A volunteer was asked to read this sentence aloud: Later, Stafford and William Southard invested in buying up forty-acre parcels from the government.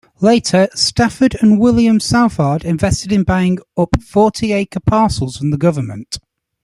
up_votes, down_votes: 2, 0